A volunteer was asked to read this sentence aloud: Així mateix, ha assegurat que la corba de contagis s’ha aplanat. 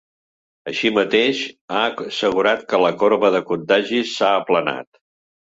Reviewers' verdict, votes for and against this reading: accepted, 3, 0